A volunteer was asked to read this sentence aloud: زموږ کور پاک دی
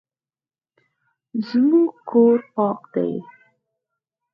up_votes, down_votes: 4, 0